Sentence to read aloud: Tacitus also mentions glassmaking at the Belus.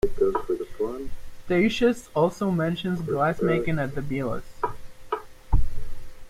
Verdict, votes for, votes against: rejected, 1, 2